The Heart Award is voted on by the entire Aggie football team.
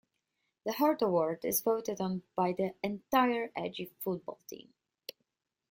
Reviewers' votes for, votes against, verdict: 1, 2, rejected